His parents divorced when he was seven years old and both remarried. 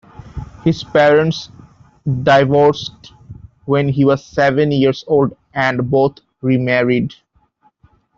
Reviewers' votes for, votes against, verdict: 2, 0, accepted